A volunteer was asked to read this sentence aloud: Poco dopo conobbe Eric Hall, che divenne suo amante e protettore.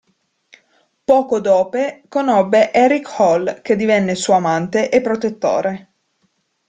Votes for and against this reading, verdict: 0, 2, rejected